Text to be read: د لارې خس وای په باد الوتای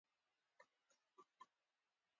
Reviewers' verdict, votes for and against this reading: accepted, 3, 0